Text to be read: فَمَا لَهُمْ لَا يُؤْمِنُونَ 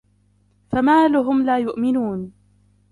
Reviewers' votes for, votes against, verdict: 0, 2, rejected